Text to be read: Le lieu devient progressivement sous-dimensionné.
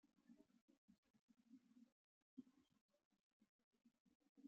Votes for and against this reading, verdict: 0, 2, rejected